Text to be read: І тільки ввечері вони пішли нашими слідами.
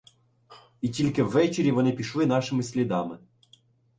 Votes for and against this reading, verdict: 2, 0, accepted